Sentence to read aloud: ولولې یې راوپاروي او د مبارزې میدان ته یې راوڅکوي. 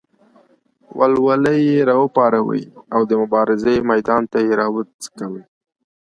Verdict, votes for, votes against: rejected, 1, 2